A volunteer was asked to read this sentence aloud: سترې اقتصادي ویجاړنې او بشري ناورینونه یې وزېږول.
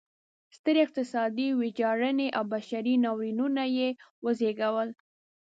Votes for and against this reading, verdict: 2, 0, accepted